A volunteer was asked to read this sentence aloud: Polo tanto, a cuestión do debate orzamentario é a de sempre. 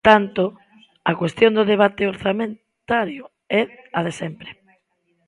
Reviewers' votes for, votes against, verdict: 0, 2, rejected